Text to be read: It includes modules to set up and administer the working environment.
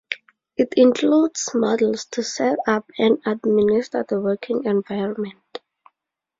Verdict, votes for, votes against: rejected, 0, 2